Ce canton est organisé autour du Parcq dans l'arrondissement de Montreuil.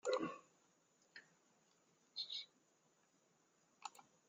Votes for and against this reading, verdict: 0, 2, rejected